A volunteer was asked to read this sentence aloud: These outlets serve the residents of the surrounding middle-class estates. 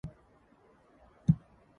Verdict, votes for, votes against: rejected, 0, 2